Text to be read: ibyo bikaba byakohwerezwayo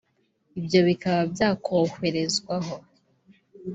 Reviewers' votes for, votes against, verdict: 0, 2, rejected